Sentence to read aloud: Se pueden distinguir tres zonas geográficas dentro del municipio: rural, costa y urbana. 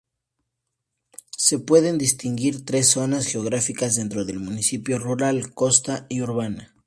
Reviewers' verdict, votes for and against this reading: accepted, 2, 0